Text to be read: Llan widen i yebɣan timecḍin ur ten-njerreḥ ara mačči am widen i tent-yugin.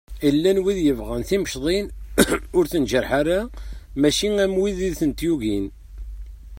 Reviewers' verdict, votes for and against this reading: rejected, 0, 2